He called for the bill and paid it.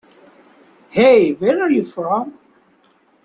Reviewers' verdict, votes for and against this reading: rejected, 0, 2